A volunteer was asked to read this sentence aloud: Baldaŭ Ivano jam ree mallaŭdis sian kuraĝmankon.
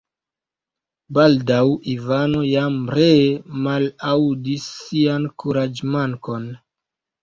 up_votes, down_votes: 1, 2